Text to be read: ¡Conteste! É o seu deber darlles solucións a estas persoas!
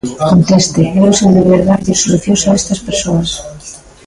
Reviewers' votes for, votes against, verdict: 0, 2, rejected